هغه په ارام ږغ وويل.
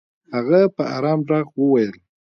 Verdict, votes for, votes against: accepted, 2, 1